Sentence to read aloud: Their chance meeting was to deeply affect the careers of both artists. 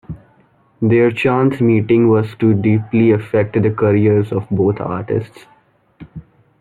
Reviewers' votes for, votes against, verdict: 2, 0, accepted